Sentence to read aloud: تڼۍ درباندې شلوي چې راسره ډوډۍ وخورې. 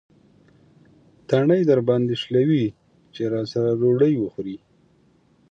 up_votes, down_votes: 3, 0